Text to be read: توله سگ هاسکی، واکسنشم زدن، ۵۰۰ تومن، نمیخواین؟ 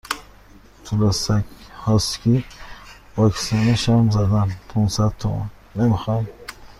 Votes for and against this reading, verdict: 0, 2, rejected